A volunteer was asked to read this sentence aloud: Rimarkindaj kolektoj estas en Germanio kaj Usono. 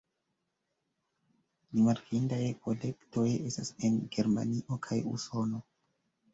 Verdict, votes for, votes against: accepted, 3, 1